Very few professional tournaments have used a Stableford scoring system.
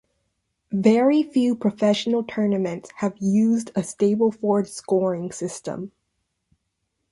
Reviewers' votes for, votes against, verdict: 2, 0, accepted